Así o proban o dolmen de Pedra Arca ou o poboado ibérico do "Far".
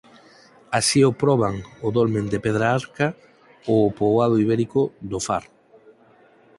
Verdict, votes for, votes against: accepted, 4, 0